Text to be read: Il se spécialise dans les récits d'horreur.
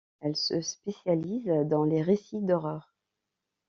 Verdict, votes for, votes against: rejected, 1, 2